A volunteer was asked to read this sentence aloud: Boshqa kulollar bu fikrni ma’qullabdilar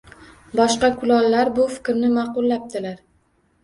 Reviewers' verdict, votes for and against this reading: rejected, 0, 2